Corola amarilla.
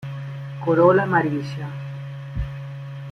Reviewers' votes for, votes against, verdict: 1, 2, rejected